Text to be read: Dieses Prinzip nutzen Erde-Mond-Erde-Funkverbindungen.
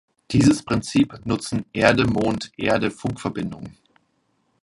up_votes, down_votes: 2, 0